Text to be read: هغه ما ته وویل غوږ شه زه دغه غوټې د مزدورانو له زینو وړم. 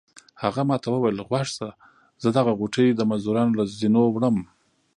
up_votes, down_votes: 1, 2